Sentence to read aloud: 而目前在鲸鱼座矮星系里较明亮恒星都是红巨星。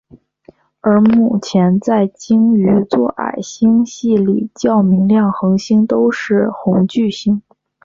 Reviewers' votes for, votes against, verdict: 3, 0, accepted